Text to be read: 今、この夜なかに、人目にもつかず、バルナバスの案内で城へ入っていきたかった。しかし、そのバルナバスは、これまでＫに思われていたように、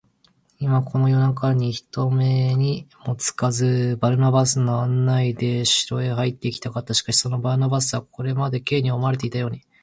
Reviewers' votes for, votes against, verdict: 1, 2, rejected